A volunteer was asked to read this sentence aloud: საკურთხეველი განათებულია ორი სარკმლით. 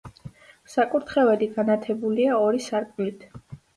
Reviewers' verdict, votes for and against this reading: accepted, 2, 0